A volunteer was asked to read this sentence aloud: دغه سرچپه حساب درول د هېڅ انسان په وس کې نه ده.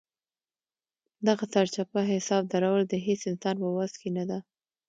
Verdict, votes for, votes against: accepted, 2, 0